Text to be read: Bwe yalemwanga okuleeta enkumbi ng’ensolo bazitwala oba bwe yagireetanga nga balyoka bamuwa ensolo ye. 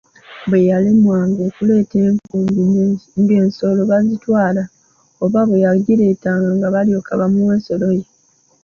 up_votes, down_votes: 0, 2